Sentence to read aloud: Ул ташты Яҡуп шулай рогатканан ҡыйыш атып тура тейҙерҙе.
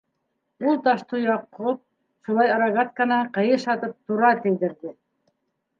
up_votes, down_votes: 1, 2